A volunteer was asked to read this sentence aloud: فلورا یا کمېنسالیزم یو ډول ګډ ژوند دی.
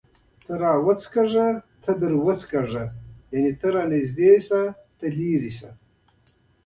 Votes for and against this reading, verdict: 1, 2, rejected